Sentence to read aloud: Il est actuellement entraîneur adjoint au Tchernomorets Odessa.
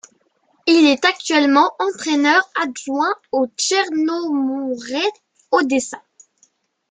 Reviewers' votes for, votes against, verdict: 2, 1, accepted